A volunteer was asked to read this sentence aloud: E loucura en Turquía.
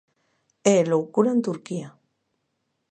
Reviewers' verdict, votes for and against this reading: accepted, 2, 0